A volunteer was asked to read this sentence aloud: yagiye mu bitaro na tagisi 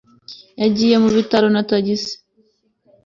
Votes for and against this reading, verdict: 2, 0, accepted